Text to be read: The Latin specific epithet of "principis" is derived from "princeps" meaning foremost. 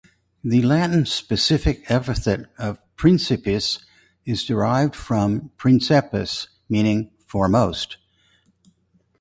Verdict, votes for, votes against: accepted, 4, 0